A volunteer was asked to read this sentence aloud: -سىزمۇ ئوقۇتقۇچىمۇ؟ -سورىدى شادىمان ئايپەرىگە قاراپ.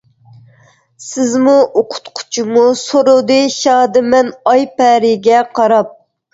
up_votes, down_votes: 2, 3